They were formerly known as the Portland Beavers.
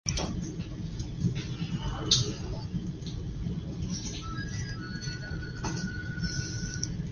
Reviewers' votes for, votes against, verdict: 0, 2, rejected